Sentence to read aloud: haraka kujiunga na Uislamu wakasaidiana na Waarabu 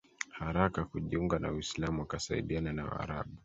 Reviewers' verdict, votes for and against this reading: accepted, 2, 0